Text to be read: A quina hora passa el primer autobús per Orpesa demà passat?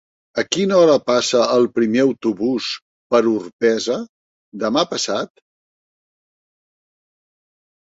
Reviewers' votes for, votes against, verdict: 0, 2, rejected